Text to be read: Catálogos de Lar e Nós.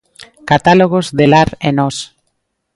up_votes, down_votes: 2, 0